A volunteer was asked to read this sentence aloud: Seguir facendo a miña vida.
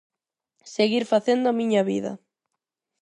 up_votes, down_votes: 4, 0